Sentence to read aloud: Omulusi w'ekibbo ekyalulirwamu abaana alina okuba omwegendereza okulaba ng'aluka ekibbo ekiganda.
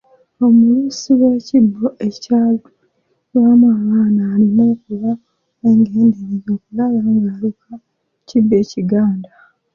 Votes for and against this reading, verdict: 2, 1, accepted